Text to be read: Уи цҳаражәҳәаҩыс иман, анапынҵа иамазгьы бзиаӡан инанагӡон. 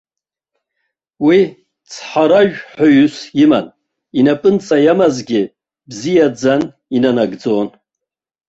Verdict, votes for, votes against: rejected, 1, 2